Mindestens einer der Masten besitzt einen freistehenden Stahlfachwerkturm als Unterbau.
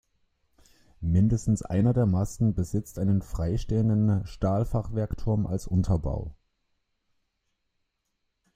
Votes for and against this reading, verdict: 1, 2, rejected